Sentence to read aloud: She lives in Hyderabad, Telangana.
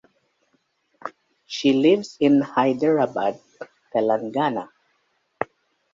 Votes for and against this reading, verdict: 2, 0, accepted